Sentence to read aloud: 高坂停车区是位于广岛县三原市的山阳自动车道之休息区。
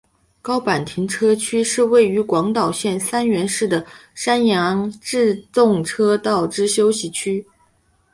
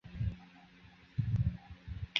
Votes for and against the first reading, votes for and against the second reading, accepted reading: 2, 0, 0, 3, first